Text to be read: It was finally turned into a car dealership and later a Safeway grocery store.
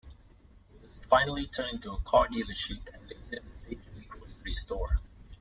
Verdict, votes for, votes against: rejected, 1, 2